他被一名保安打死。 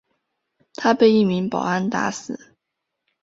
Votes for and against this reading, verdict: 2, 0, accepted